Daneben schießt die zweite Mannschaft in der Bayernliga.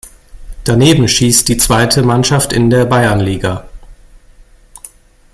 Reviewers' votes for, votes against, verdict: 2, 0, accepted